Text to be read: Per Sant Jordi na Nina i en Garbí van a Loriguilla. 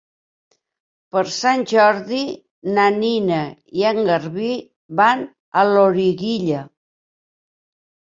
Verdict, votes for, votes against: accepted, 3, 0